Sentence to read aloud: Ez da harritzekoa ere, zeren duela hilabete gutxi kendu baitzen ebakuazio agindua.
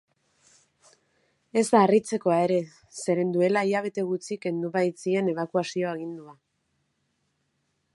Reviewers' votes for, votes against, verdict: 0, 2, rejected